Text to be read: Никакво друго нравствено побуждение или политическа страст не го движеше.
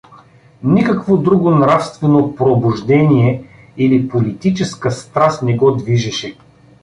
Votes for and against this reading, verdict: 1, 2, rejected